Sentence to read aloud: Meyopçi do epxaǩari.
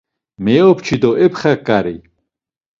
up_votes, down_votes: 2, 0